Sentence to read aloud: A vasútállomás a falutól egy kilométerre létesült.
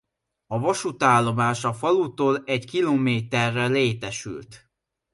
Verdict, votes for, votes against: accepted, 2, 0